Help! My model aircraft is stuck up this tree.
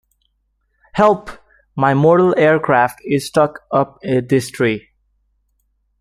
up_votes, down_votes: 1, 2